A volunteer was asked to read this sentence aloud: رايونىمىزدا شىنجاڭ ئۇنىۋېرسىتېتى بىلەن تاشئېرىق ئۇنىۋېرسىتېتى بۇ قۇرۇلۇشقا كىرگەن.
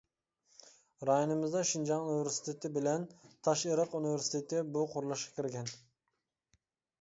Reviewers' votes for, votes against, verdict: 2, 0, accepted